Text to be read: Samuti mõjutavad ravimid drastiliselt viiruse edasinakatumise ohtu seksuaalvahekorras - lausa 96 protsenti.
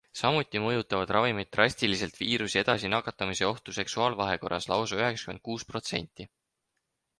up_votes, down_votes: 0, 2